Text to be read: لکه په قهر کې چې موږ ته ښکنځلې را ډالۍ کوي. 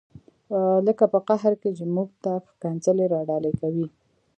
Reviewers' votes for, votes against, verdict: 2, 1, accepted